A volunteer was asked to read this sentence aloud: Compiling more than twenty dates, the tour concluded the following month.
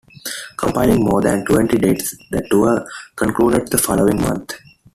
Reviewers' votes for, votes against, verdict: 0, 2, rejected